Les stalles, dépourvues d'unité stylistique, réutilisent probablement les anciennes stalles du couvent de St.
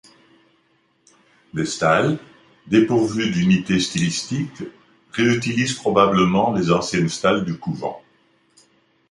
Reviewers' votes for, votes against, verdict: 1, 2, rejected